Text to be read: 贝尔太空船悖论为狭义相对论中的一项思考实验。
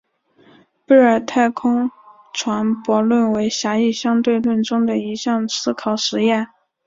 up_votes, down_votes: 0, 2